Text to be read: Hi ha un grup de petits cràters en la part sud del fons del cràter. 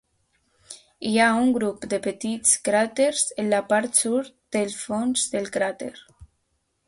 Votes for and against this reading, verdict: 2, 0, accepted